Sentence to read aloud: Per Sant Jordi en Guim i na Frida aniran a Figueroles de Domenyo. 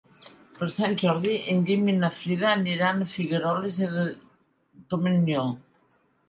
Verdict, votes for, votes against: rejected, 1, 2